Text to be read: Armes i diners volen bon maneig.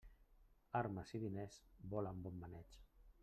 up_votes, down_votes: 2, 0